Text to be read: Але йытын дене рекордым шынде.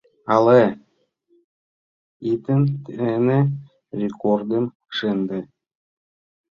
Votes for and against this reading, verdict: 0, 3, rejected